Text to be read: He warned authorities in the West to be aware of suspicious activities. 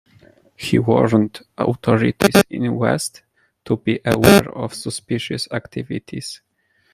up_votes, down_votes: 0, 2